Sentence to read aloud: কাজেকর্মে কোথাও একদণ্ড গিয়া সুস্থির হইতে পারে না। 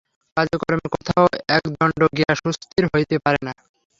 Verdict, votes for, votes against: rejected, 0, 3